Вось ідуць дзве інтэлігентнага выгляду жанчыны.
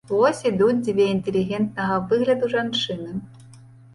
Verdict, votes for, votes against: accepted, 2, 0